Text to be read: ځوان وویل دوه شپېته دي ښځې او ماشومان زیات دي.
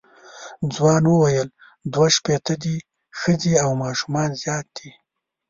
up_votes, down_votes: 2, 0